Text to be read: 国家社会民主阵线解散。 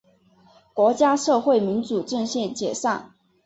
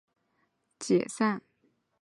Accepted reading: first